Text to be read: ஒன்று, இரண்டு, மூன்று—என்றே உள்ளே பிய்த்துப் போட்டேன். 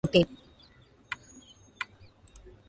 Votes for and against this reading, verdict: 0, 2, rejected